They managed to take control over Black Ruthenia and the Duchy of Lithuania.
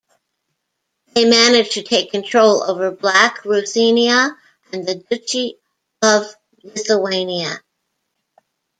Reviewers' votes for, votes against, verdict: 1, 2, rejected